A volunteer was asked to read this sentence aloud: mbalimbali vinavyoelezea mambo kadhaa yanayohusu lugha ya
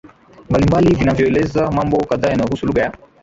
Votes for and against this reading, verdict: 0, 2, rejected